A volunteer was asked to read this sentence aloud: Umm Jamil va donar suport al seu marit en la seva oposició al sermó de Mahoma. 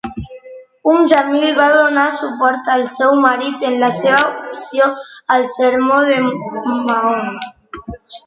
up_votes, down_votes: 0, 2